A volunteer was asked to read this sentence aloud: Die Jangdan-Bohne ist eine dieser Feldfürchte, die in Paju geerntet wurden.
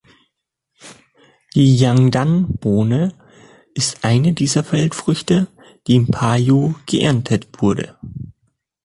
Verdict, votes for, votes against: rejected, 0, 2